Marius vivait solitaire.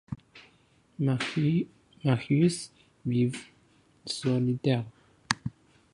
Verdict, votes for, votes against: rejected, 0, 2